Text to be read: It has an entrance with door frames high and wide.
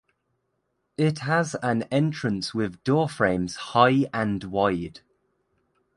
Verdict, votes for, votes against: accepted, 2, 0